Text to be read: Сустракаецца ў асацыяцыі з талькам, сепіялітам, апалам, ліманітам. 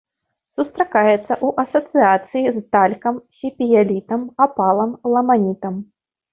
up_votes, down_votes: 1, 2